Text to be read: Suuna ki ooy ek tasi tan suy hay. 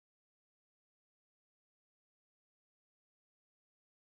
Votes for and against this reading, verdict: 0, 2, rejected